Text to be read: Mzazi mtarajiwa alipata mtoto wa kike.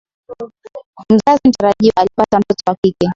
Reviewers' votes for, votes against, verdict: 5, 5, rejected